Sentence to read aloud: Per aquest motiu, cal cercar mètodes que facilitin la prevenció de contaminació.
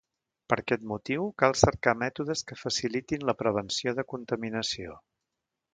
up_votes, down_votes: 1, 2